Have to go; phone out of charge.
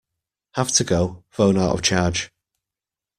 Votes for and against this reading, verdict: 1, 2, rejected